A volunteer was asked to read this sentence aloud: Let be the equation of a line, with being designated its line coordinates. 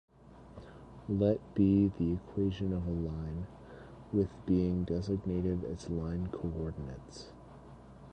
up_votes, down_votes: 1, 2